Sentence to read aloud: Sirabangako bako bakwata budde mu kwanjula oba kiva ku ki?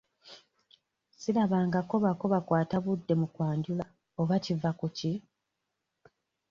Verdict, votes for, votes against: accepted, 2, 0